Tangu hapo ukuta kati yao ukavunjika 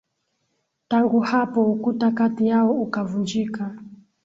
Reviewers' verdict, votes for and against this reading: rejected, 0, 2